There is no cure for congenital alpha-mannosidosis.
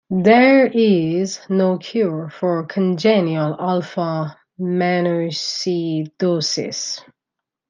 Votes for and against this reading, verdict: 0, 2, rejected